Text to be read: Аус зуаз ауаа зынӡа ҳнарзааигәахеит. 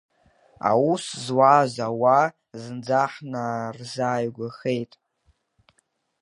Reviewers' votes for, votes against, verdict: 3, 1, accepted